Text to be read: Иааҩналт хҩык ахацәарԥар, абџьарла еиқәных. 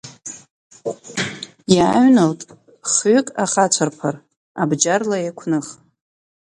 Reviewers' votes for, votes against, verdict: 1, 2, rejected